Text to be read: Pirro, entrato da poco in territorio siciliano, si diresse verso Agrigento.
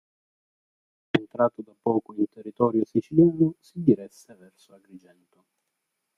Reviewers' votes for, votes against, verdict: 1, 3, rejected